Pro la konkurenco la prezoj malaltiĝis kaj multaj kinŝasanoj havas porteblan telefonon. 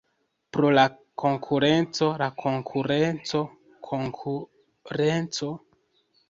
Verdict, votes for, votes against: rejected, 1, 2